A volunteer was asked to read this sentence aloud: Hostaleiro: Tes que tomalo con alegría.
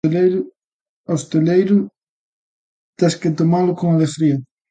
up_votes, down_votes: 0, 2